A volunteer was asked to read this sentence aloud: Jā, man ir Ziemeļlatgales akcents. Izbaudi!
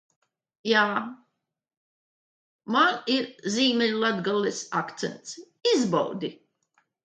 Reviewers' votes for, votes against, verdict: 2, 1, accepted